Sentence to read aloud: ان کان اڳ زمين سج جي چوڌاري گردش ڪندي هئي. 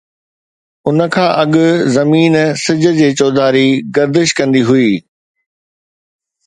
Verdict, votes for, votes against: accepted, 2, 0